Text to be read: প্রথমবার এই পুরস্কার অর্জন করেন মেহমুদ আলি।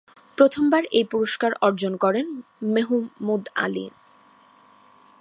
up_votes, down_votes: 2, 1